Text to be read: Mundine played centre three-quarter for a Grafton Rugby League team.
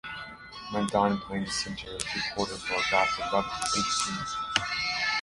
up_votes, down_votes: 0, 2